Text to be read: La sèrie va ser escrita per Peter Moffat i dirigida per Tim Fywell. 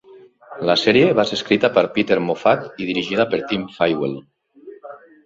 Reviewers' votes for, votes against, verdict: 2, 0, accepted